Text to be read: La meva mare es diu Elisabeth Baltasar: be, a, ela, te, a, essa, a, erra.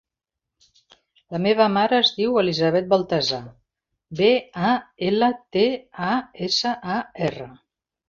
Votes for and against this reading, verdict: 3, 0, accepted